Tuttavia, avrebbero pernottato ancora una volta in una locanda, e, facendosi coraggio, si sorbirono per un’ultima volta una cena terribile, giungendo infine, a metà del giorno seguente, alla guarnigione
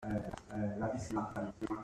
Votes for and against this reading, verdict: 0, 2, rejected